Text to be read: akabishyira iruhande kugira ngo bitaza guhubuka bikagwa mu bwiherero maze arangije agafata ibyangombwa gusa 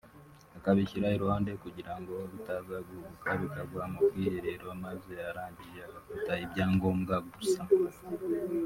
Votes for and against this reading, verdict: 3, 2, accepted